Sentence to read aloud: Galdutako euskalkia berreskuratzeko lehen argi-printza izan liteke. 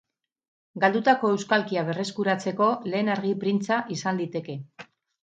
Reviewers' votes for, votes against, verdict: 4, 0, accepted